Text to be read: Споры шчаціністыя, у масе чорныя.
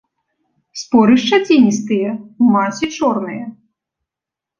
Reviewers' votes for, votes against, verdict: 2, 1, accepted